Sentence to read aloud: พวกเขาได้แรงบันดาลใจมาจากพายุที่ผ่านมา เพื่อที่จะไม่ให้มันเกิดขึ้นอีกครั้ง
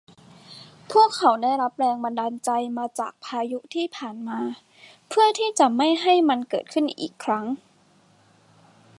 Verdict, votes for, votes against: accepted, 2, 0